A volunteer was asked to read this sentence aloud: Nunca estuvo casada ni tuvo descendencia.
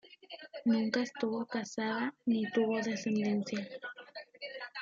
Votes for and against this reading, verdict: 0, 2, rejected